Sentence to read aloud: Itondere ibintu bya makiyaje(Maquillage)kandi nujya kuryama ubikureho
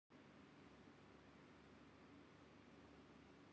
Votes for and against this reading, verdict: 0, 2, rejected